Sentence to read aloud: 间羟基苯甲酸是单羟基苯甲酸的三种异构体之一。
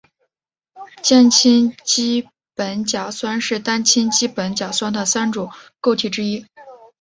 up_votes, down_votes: 1, 3